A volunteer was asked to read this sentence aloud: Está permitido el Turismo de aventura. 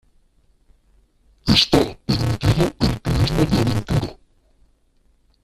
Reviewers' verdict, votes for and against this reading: rejected, 0, 2